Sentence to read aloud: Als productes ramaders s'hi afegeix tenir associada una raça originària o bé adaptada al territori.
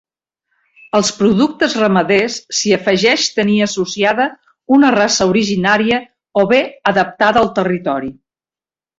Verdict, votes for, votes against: accepted, 2, 0